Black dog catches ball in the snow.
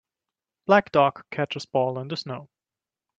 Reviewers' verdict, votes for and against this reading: accepted, 3, 1